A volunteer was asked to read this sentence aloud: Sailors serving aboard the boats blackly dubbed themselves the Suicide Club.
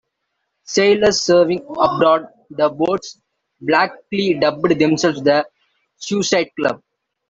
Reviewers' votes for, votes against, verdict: 1, 2, rejected